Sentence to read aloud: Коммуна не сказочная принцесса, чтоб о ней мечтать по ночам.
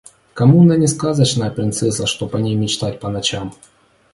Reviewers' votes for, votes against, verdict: 2, 0, accepted